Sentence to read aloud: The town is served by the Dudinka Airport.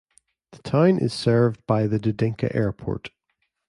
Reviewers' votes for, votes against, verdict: 2, 0, accepted